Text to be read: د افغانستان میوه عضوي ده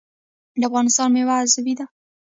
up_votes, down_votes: 1, 2